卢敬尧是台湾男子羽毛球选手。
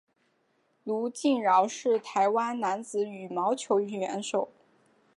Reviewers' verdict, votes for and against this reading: rejected, 0, 2